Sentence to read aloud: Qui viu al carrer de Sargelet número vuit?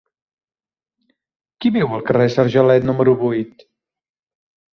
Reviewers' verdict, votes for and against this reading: rejected, 1, 2